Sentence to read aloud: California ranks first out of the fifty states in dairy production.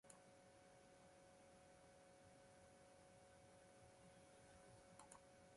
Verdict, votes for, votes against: rejected, 0, 2